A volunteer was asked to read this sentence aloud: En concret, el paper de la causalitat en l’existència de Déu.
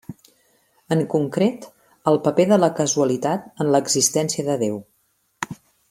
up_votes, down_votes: 0, 2